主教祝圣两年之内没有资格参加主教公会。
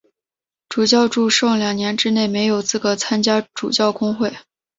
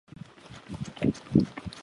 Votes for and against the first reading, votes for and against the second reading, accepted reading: 4, 0, 0, 2, first